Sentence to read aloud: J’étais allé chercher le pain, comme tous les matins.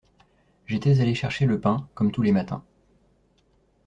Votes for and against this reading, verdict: 2, 0, accepted